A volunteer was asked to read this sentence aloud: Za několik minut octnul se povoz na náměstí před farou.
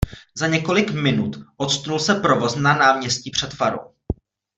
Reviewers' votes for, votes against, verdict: 1, 2, rejected